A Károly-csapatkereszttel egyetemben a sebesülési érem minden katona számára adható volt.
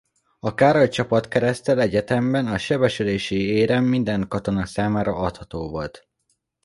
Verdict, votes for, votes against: accepted, 2, 0